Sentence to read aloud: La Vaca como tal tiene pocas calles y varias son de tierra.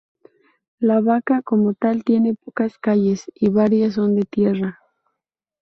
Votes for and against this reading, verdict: 4, 0, accepted